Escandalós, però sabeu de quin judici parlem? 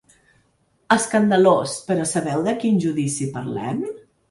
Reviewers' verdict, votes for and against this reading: accepted, 3, 0